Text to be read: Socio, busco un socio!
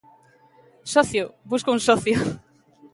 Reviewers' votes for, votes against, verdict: 2, 1, accepted